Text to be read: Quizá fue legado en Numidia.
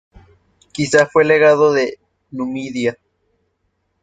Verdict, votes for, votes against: rejected, 0, 2